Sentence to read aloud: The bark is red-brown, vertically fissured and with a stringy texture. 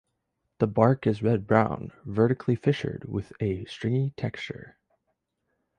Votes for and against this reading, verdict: 0, 2, rejected